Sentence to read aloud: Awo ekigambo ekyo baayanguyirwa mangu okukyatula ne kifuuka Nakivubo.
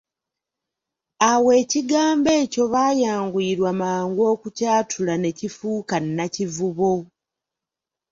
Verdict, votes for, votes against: accepted, 3, 1